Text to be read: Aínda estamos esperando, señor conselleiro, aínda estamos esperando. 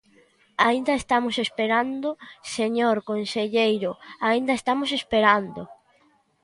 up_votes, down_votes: 2, 0